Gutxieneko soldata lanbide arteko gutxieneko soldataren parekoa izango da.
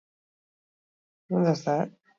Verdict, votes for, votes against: rejected, 0, 6